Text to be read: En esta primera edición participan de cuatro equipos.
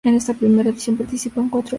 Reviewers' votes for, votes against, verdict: 0, 2, rejected